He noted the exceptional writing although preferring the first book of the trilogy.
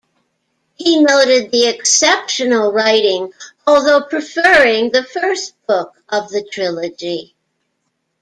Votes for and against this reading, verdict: 2, 0, accepted